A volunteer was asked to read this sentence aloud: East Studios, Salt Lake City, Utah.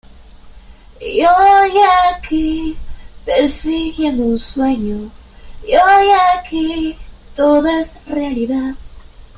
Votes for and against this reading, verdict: 0, 2, rejected